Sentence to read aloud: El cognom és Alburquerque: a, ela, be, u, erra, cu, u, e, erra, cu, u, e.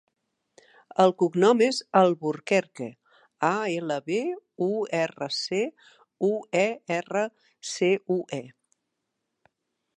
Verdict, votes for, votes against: rejected, 0, 2